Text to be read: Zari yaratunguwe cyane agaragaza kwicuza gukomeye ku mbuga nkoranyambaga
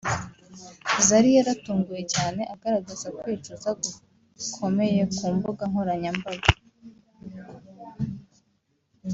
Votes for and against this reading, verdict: 1, 2, rejected